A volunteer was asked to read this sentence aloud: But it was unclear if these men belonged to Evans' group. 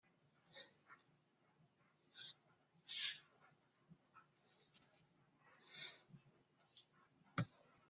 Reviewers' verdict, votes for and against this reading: rejected, 0, 2